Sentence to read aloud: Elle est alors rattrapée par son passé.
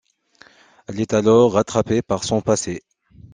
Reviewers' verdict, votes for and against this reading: accepted, 2, 0